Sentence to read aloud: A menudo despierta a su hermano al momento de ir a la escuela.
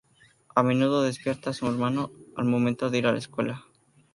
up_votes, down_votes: 2, 0